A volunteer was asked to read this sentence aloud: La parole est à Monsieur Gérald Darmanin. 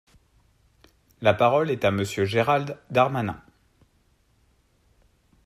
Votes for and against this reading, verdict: 4, 0, accepted